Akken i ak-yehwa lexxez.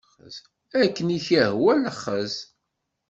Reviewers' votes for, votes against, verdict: 2, 0, accepted